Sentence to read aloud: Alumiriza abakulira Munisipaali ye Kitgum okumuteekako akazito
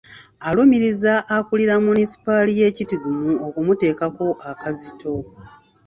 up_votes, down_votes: 0, 2